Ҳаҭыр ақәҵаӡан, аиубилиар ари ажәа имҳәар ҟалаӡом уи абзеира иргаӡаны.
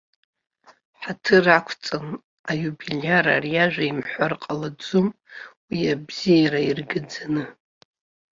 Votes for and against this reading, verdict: 0, 2, rejected